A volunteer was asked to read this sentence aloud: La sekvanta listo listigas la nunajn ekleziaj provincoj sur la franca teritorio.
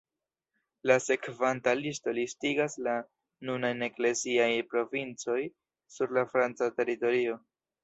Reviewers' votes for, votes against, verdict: 2, 0, accepted